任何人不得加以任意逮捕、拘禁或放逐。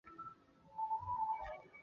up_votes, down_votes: 0, 3